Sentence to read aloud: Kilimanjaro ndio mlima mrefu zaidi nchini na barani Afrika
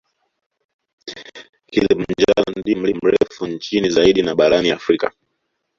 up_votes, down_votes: 0, 3